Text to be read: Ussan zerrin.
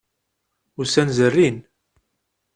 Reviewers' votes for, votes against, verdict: 2, 0, accepted